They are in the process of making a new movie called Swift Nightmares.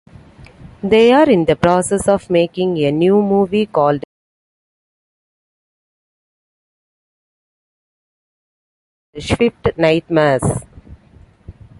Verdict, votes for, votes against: rejected, 1, 2